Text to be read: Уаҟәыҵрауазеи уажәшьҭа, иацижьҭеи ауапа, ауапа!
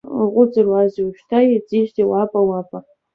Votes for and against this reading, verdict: 0, 2, rejected